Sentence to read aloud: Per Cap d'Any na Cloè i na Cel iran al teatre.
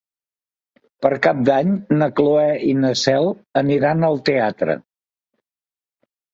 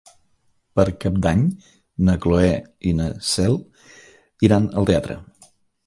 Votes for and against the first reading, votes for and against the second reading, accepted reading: 1, 3, 4, 0, second